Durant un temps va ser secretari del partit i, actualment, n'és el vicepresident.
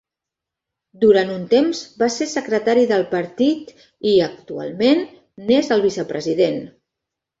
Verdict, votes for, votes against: accepted, 5, 0